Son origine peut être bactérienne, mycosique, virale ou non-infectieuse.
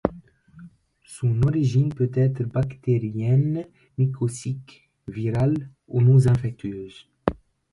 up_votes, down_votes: 2, 0